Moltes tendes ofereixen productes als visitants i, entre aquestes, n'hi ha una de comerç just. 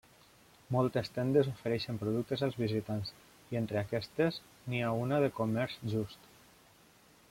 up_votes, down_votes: 0, 2